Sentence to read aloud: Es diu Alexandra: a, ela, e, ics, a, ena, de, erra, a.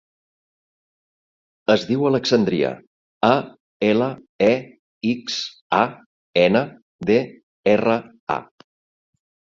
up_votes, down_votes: 0, 2